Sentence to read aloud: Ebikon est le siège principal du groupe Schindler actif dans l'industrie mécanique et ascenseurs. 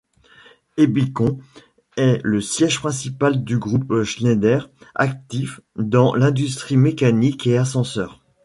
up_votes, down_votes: 0, 2